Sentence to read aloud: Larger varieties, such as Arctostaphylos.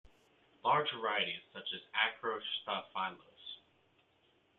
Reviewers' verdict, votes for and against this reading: rejected, 0, 2